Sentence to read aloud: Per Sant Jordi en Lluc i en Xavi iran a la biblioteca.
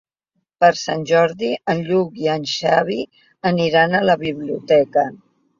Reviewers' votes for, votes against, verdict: 0, 2, rejected